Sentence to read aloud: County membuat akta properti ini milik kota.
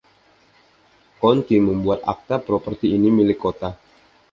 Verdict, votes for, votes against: accepted, 2, 0